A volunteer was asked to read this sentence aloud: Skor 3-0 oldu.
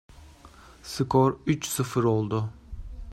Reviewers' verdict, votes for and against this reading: rejected, 0, 2